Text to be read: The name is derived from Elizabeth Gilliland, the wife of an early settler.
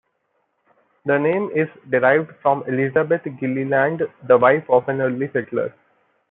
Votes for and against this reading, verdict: 2, 0, accepted